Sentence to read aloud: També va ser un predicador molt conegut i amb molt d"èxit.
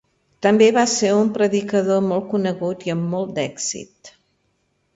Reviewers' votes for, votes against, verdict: 2, 0, accepted